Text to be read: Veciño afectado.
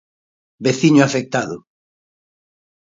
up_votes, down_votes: 2, 0